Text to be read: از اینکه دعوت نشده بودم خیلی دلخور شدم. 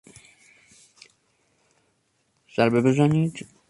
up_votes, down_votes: 0, 2